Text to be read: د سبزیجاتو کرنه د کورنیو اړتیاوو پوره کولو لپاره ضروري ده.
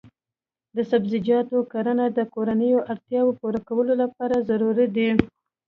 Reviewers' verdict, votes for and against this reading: accepted, 2, 1